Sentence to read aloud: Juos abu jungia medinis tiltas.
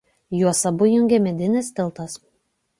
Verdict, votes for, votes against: accepted, 2, 0